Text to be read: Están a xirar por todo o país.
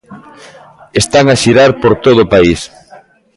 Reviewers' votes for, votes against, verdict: 2, 0, accepted